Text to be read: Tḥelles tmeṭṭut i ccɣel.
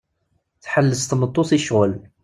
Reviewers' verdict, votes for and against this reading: accepted, 2, 0